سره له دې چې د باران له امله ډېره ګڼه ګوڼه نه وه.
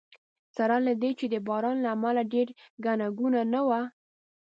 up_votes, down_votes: 3, 0